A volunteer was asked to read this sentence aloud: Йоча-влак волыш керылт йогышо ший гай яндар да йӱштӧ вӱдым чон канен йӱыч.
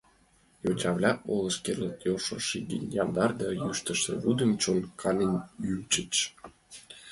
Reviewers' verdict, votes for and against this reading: rejected, 0, 2